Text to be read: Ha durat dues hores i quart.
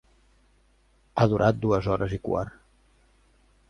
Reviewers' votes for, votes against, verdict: 2, 0, accepted